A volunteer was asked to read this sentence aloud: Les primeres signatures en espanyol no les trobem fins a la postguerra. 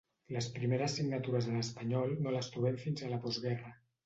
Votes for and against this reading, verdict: 0, 2, rejected